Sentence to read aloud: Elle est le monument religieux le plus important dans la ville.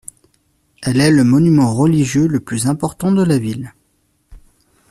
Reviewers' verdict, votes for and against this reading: rejected, 0, 2